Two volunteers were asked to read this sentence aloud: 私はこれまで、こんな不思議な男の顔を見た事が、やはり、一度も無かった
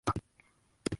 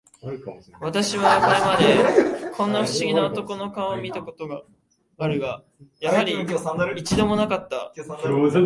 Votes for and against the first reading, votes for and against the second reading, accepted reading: 0, 2, 2, 1, second